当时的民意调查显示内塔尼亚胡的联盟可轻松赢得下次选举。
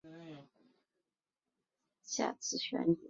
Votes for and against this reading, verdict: 1, 3, rejected